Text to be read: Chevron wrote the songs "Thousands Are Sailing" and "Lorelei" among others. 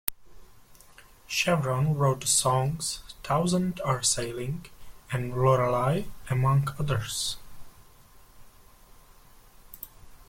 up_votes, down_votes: 1, 2